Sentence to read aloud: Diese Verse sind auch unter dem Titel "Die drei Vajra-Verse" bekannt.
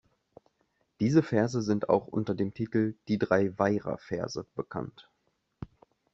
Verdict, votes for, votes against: rejected, 1, 2